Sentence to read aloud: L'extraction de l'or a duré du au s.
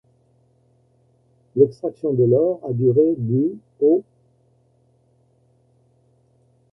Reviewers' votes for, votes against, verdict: 0, 2, rejected